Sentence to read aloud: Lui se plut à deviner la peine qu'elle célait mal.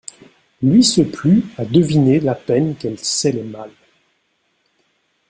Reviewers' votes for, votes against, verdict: 1, 2, rejected